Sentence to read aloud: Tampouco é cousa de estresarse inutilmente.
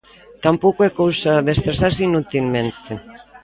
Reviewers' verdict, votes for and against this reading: rejected, 1, 2